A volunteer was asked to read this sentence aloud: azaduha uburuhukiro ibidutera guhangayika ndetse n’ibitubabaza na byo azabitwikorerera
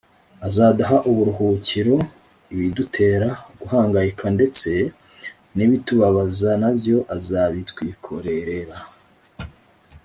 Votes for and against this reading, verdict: 2, 0, accepted